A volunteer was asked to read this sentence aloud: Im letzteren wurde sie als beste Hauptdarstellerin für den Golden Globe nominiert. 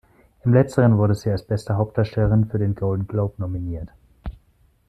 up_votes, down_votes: 2, 1